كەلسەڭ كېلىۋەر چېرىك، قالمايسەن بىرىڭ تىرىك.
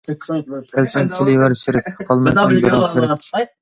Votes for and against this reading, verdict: 1, 2, rejected